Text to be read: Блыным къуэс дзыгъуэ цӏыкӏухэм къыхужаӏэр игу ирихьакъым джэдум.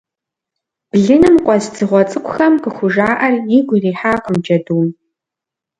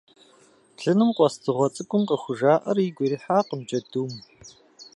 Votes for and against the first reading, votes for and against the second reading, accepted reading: 2, 0, 1, 2, first